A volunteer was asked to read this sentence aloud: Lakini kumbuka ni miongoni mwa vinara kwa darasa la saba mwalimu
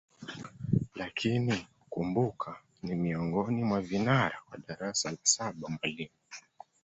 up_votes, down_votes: 0, 2